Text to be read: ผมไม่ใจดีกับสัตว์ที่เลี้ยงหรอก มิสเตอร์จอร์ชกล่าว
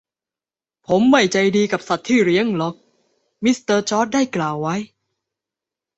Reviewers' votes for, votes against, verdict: 0, 2, rejected